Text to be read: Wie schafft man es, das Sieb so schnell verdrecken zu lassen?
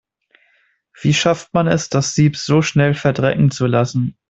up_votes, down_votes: 2, 0